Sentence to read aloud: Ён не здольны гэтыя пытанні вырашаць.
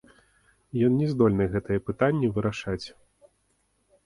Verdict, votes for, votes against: accepted, 2, 0